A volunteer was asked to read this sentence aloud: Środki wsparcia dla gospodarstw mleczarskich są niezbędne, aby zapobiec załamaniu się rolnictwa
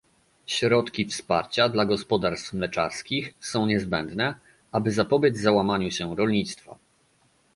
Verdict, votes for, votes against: accepted, 2, 0